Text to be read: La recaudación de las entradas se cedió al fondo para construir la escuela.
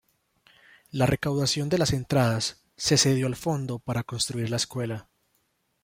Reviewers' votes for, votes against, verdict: 2, 0, accepted